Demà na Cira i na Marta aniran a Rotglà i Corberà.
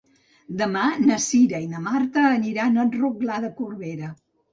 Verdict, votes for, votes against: rejected, 0, 2